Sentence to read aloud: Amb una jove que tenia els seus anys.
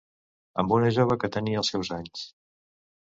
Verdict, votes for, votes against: accepted, 2, 0